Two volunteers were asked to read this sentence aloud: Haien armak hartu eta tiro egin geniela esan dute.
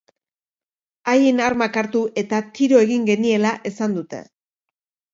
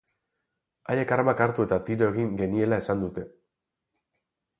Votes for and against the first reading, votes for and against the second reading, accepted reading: 2, 0, 0, 2, first